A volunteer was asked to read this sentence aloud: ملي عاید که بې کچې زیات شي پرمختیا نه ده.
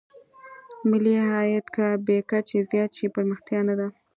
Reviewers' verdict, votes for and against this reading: accepted, 2, 0